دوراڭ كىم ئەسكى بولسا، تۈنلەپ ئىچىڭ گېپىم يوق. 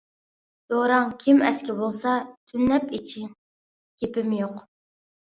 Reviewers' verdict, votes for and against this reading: rejected, 1, 2